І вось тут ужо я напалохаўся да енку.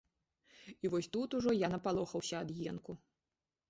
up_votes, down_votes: 0, 2